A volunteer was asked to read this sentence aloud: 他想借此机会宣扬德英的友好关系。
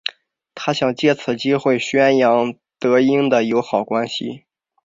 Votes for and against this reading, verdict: 2, 0, accepted